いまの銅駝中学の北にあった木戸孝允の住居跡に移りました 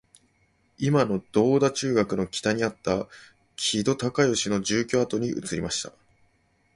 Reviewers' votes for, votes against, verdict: 2, 0, accepted